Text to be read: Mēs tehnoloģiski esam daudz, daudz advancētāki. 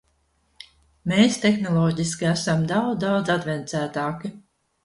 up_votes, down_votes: 0, 2